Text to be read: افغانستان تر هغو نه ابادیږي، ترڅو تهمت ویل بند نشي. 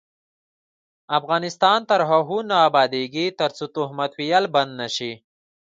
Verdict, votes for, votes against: accepted, 2, 1